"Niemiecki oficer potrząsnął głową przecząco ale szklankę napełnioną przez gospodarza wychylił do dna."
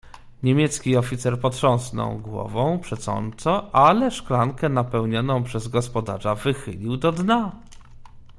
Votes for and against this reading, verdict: 1, 2, rejected